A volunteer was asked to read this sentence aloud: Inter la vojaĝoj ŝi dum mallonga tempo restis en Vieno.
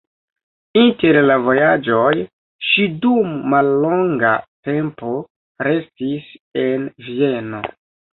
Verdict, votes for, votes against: accepted, 2, 0